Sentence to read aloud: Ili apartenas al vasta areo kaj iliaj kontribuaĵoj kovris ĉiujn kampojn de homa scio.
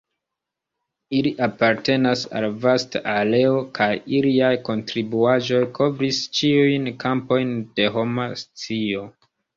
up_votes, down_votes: 2, 1